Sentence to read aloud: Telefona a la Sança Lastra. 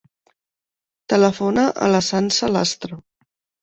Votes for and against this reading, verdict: 3, 0, accepted